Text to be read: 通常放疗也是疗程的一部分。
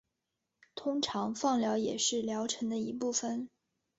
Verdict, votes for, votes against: accepted, 3, 0